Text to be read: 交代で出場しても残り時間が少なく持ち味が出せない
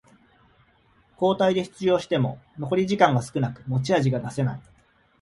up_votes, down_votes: 2, 0